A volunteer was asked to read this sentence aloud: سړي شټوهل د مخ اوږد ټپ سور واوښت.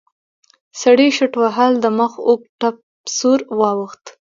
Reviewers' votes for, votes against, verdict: 2, 1, accepted